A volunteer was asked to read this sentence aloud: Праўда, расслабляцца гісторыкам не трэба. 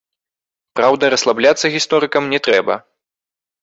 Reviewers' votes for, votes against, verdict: 1, 2, rejected